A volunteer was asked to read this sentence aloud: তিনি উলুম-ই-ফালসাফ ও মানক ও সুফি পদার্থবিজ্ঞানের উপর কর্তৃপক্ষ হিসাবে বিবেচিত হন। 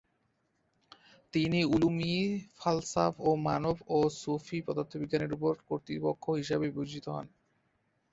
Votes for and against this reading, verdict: 9, 6, accepted